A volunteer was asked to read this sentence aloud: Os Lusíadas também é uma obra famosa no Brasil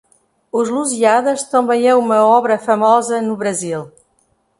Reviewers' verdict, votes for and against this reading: rejected, 0, 2